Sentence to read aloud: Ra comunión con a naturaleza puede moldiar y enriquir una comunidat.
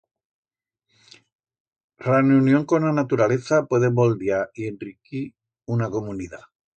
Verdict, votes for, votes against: rejected, 1, 2